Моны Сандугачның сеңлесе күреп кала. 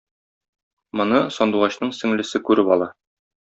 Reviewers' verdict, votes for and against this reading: rejected, 1, 2